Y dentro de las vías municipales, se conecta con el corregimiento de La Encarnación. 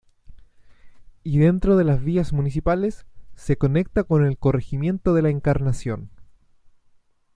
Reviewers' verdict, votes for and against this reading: accepted, 2, 0